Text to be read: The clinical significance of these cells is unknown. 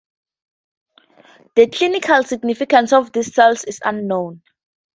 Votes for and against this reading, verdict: 2, 0, accepted